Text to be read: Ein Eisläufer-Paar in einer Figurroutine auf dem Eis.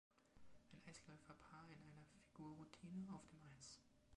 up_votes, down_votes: 2, 0